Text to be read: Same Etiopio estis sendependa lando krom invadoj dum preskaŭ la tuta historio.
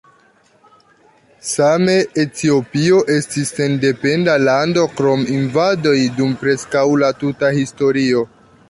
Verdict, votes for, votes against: accepted, 2, 0